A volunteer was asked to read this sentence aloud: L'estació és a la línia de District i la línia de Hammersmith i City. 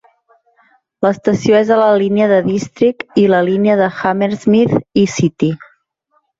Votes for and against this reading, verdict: 4, 0, accepted